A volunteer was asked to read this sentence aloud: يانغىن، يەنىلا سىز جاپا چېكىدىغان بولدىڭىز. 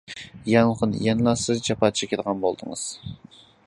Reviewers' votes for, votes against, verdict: 2, 0, accepted